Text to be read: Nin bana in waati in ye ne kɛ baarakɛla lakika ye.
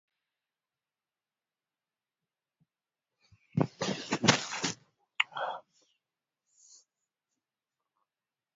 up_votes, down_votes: 0, 2